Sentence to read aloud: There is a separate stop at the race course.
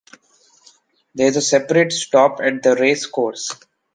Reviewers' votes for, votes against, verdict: 2, 0, accepted